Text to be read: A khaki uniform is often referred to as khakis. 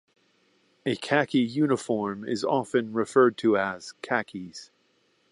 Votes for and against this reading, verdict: 2, 0, accepted